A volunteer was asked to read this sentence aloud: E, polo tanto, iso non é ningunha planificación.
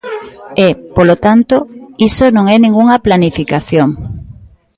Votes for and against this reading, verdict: 2, 0, accepted